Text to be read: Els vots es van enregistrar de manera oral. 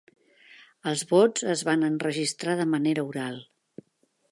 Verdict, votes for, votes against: accepted, 2, 0